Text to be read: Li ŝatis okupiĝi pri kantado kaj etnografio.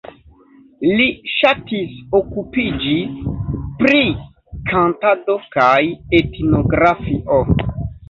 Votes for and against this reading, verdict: 1, 2, rejected